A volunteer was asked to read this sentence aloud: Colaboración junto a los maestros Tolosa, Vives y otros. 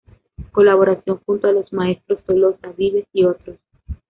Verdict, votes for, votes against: rejected, 1, 2